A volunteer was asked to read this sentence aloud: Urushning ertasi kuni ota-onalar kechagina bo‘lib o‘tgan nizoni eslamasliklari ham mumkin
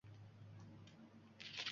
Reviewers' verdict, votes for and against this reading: accepted, 2, 1